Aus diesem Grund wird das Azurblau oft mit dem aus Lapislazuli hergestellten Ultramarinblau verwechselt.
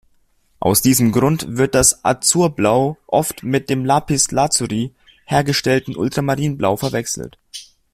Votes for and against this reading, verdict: 1, 2, rejected